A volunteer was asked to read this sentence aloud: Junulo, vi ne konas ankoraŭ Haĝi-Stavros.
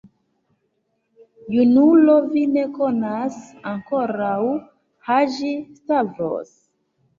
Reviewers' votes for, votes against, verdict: 2, 1, accepted